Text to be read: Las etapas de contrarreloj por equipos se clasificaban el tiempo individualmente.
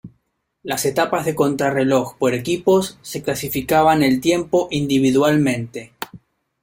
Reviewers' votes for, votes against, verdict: 2, 0, accepted